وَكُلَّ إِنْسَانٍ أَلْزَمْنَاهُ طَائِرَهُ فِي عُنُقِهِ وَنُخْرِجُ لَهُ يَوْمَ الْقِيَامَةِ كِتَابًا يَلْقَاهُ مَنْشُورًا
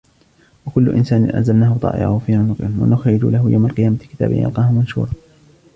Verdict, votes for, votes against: rejected, 1, 2